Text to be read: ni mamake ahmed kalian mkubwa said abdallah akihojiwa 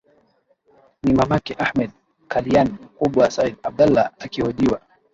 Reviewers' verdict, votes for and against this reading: accepted, 15, 2